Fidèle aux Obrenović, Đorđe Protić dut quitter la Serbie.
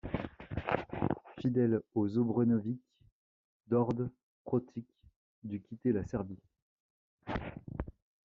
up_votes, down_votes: 2, 0